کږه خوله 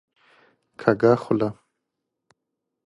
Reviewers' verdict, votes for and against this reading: rejected, 1, 2